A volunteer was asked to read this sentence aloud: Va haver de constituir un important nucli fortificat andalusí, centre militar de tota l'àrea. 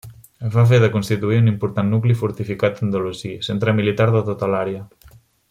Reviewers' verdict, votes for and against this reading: rejected, 0, 2